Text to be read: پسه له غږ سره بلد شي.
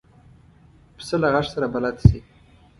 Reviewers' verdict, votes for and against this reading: accepted, 2, 0